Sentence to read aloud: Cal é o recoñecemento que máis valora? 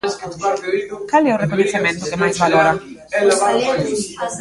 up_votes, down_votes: 0, 2